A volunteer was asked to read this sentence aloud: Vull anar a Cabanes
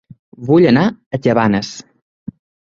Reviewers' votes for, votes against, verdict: 2, 0, accepted